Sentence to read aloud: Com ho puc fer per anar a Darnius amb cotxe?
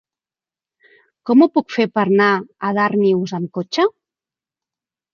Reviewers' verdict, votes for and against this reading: accepted, 3, 1